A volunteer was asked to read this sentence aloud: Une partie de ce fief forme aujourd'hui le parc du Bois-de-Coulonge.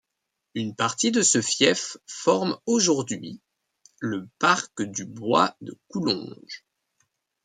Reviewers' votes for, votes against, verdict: 0, 2, rejected